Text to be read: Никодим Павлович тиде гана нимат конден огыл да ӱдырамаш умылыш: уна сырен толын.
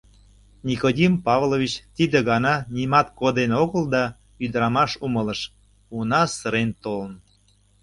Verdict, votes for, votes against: rejected, 0, 2